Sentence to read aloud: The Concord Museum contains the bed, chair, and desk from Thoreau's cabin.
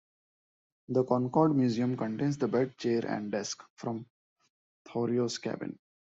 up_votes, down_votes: 0, 2